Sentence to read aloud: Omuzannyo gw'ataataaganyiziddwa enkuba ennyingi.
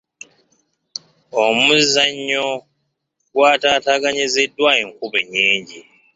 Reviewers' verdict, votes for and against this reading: accepted, 2, 1